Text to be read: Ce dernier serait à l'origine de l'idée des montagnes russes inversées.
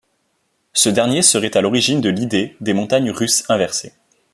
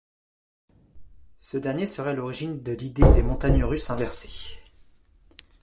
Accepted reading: first